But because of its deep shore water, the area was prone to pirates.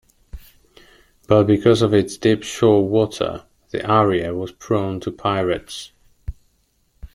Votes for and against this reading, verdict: 2, 0, accepted